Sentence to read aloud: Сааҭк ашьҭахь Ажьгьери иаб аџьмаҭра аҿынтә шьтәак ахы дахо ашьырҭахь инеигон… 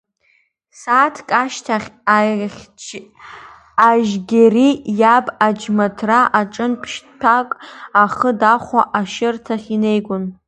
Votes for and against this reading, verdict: 0, 2, rejected